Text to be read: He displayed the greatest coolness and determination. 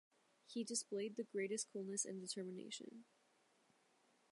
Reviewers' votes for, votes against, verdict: 1, 2, rejected